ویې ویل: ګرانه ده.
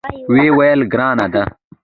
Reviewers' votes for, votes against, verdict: 2, 1, accepted